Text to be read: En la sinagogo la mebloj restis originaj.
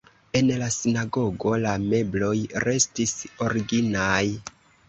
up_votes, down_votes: 2, 0